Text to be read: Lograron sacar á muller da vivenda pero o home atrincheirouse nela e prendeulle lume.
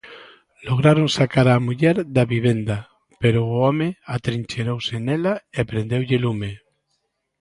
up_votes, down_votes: 2, 0